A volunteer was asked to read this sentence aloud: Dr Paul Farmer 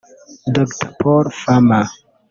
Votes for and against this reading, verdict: 1, 2, rejected